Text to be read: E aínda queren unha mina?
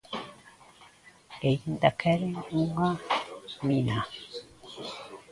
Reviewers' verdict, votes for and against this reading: accepted, 2, 1